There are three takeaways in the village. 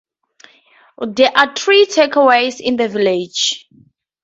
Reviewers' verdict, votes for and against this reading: accepted, 2, 0